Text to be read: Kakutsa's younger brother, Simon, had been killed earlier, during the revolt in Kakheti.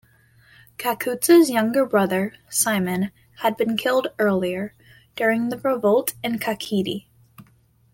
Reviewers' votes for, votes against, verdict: 2, 0, accepted